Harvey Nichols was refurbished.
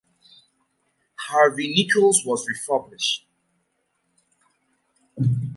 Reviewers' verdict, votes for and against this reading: accepted, 3, 0